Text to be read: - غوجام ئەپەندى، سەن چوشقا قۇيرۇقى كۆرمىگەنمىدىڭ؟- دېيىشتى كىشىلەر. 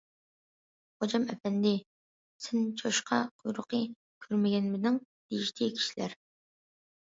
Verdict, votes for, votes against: accepted, 2, 0